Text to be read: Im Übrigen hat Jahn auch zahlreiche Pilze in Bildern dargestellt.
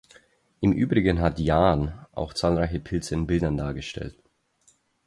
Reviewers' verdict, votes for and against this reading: accepted, 4, 0